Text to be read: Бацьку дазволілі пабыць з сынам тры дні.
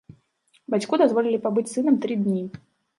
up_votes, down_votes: 0, 3